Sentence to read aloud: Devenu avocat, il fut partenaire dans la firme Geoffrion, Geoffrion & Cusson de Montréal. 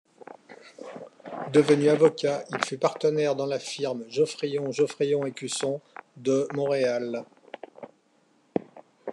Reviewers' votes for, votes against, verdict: 2, 1, accepted